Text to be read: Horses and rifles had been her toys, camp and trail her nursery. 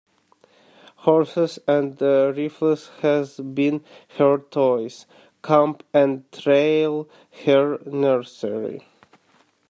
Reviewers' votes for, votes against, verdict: 1, 2, rejected